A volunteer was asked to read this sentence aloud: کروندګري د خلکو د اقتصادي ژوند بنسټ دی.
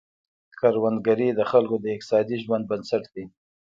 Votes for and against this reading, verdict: 2, 1, accepted